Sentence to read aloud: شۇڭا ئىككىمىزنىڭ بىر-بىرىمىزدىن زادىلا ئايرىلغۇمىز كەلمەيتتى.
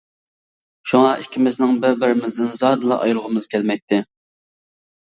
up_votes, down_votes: 2, 0